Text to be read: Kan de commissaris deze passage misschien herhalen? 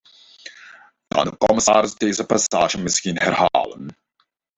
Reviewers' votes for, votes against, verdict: 0, 2, rejected